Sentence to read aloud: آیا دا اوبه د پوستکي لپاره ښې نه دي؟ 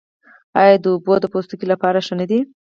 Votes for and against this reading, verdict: 2, 4, rejected